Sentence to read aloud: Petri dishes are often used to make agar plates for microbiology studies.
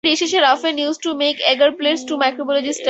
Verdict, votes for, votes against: rejected, 0, 4